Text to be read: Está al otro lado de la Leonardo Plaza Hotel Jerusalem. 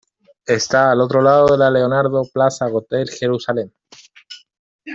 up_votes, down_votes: 2, 0